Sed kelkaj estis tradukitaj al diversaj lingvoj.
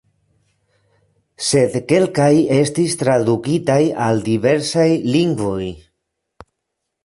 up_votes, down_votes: 0, 2